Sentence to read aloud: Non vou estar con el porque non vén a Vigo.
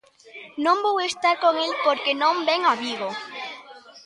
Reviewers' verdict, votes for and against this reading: rejected, 2, 3